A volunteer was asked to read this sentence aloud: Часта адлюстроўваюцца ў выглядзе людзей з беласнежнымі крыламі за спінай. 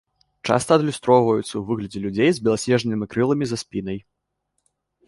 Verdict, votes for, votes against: accepted, 2, 0